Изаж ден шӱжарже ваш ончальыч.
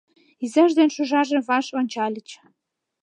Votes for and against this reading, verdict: 2, 0, accepted